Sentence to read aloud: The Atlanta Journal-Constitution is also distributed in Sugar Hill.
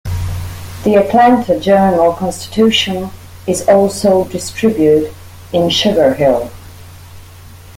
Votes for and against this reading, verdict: 1, 2, rejected